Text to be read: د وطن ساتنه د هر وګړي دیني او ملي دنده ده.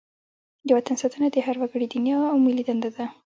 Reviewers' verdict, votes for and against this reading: accepted, 2, 0